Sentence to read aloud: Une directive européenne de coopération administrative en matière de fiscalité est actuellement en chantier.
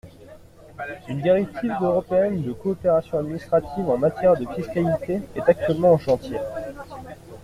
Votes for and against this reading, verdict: 2, 0, accepted